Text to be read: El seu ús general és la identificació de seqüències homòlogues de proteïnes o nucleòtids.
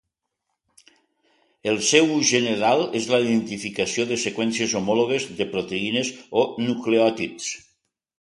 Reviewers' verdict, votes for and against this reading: accepted, 3, 0